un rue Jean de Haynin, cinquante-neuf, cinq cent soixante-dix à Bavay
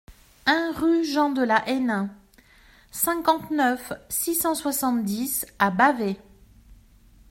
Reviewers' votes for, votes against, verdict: 0, 2, rejected